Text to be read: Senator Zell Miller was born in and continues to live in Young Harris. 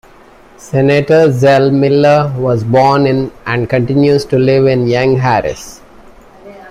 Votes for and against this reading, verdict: 2, 0, accepted